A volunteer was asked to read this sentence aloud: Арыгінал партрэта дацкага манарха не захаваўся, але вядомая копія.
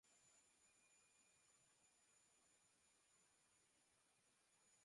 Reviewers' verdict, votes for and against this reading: rejected, 0, 2